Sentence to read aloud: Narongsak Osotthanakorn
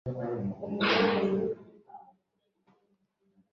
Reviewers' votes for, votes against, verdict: 0, 2, rejected